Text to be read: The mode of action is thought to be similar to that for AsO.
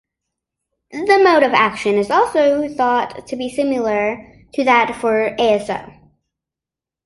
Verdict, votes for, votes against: rejected, 0, 2